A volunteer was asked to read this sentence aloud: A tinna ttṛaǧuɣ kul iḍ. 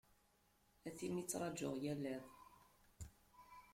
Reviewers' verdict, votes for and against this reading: rejected, 1, 2